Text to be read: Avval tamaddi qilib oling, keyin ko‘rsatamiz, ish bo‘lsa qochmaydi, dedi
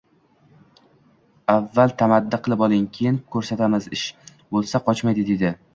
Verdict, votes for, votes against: rejected, 1, 2